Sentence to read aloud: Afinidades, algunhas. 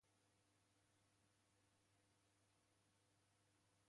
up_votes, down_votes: 0, 2